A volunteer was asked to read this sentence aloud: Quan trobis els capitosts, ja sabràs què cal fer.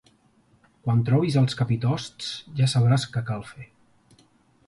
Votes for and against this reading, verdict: 2, 1, accepted